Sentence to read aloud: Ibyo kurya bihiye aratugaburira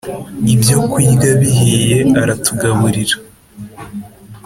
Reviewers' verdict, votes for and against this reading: accepted, 2, 0